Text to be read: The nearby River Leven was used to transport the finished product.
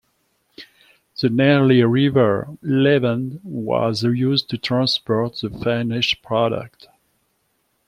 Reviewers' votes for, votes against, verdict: 0, 2, rejected